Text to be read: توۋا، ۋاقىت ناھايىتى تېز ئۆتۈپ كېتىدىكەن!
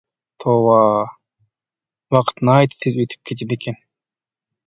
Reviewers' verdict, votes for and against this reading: accepted, 2, 0